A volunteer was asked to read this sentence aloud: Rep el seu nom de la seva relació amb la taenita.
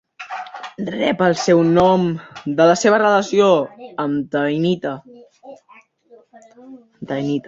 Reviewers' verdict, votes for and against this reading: rejected, 1, 3